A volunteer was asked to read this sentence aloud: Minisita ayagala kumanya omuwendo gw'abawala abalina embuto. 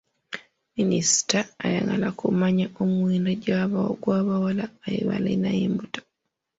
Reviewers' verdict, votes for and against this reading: rejected, 0, 2